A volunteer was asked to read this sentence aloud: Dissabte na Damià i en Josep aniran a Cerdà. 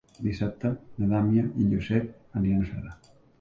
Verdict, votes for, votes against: rejected, 1, 2